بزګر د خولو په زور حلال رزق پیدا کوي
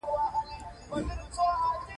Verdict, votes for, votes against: rejected, 1, 2